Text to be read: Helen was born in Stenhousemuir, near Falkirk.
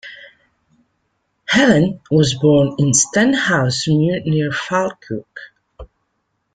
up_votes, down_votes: 2, 0